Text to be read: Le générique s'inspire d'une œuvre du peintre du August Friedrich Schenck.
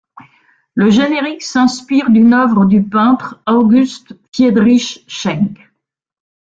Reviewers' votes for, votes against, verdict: 0, 2, rejected